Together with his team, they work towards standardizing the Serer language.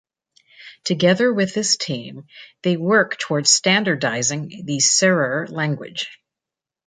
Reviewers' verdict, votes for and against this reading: accepted, 2, 0